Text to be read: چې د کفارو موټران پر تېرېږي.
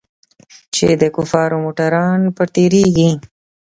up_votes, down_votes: 0, 2